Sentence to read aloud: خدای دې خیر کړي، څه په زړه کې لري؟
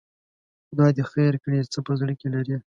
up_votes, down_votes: 2, 0